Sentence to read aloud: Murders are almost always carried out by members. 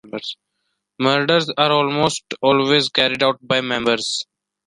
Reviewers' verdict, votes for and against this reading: accepted, 2, 1